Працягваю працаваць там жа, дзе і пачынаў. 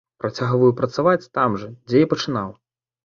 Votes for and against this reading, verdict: 2, 0, accepted